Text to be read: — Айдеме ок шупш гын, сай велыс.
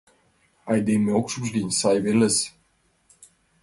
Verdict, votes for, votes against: accepted, 2, 0